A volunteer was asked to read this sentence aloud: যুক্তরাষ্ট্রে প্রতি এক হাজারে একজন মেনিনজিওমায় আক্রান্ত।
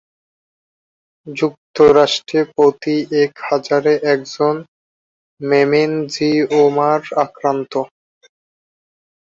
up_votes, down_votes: 0, 3